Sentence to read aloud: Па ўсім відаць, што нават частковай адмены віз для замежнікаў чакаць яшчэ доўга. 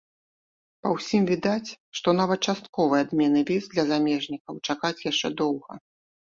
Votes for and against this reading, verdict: 2, 1, accepted